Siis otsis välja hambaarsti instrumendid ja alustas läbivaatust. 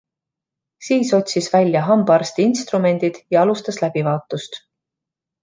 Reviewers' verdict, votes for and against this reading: accepted, 2, 0